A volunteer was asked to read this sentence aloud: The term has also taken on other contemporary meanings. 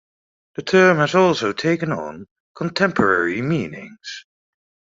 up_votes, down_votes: 0, 2